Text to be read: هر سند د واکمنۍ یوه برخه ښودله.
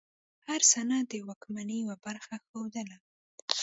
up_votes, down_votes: 2, 1